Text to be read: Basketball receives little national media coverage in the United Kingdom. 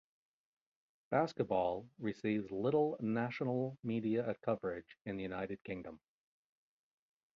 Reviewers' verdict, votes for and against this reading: accepted, 2, 1